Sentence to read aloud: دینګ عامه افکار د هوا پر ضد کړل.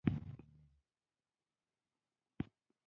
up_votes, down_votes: 1, 2